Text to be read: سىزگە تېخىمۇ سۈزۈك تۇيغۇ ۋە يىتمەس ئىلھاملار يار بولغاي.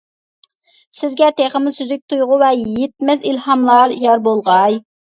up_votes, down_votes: 2, 0